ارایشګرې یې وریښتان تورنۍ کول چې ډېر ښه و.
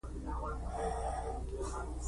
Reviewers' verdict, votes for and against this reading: rejected, 1, 2